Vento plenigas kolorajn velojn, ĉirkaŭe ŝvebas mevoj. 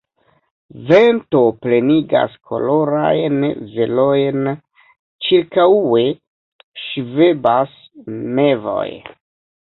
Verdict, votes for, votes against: rejected, 2, 3